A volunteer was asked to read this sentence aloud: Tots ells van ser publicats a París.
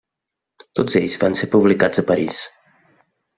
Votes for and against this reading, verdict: 3, 0, accepted